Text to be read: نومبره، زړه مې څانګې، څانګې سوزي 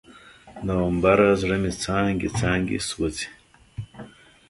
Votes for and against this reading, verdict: 2, 0, accepted